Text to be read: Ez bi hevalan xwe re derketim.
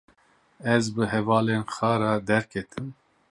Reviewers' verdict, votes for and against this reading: rejected, 0, 2